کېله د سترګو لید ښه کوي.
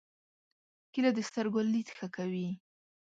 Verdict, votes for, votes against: rejected, 1, 2